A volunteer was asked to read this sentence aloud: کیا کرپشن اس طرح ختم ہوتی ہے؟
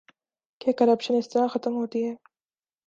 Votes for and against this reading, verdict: 2, 0, accepted